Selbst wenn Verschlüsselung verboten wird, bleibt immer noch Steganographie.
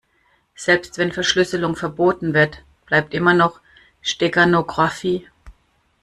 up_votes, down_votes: 1, 2